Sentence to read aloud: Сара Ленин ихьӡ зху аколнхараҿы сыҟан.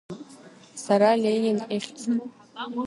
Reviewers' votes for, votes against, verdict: 0, 2, rejected